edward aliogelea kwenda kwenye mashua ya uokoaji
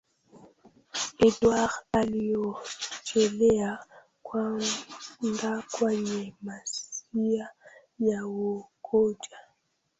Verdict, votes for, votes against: rejected, 0, 2